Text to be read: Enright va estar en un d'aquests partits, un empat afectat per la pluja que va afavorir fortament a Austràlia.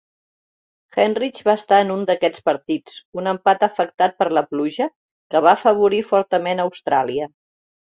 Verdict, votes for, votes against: accepted, 2, 0